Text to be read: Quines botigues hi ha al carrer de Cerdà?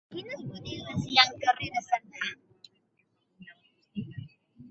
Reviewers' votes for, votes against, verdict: 0, 2, rejected